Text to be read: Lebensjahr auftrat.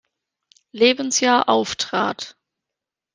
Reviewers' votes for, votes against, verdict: 2, 1, accepted